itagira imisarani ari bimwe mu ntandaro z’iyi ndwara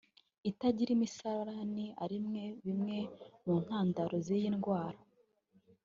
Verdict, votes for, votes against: accepted, 2, 1